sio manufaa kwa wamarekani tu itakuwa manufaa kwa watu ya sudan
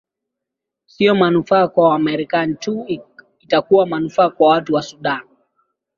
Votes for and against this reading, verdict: 2, 1, accepted